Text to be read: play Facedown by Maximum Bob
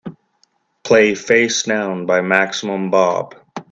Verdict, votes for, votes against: accepted, 2, 1